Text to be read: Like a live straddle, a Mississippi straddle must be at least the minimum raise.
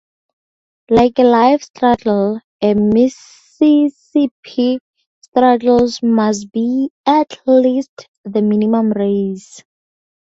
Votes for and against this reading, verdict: 0, 2, rejected